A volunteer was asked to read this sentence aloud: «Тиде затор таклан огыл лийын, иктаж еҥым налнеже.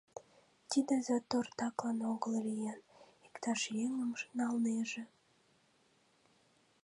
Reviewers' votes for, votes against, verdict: 1, 2, rejected